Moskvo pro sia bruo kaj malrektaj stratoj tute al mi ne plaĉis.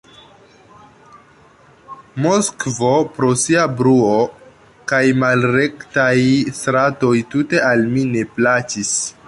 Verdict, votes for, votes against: rejected, 1, 2